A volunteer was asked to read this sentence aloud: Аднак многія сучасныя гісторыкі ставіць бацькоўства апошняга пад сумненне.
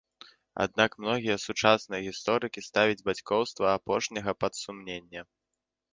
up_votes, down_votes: 2, 0